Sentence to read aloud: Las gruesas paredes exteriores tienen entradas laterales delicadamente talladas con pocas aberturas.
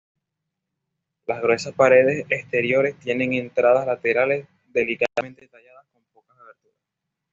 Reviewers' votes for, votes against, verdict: 1, 2, rejected